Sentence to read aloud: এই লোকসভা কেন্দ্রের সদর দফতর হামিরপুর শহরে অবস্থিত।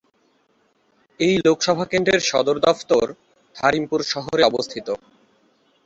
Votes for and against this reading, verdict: 3, 5, rejected